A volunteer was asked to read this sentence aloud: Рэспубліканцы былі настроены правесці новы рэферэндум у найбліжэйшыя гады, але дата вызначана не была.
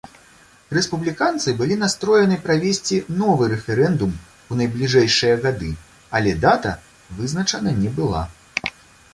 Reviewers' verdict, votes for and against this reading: accepted, 2, 0